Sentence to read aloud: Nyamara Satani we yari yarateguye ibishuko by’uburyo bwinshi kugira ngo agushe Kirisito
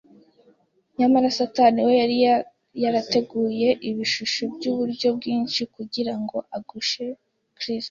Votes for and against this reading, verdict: 0, 2, rejected